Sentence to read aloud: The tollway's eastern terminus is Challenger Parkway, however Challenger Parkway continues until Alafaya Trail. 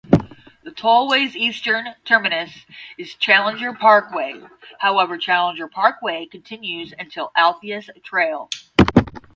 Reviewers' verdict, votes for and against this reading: rejected, 0, 5